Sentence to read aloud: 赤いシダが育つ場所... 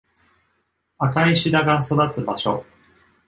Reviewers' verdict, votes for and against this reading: accepted, 2, 0